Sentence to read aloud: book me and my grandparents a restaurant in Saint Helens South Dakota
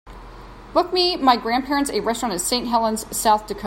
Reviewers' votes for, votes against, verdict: 0, 2, rejected